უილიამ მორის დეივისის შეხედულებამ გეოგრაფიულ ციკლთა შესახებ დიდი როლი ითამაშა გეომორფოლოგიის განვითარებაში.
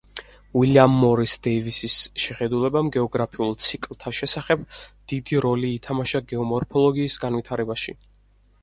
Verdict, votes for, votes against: accepted, 4, 2